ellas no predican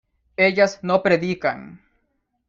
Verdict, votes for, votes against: accepted, 2, 0